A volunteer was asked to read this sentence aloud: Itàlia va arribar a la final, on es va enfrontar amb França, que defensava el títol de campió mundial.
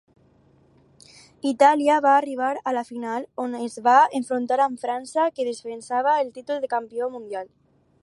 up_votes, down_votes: 2, 0